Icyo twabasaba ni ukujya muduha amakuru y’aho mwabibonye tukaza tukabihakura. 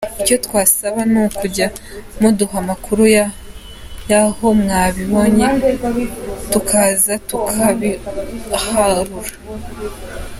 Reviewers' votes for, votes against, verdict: 0, 2, rejected